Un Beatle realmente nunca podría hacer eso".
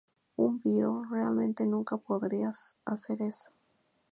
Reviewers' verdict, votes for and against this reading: accepted, 2, 0